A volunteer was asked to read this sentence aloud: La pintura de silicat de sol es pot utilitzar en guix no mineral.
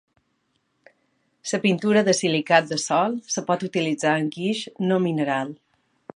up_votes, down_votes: 2, 3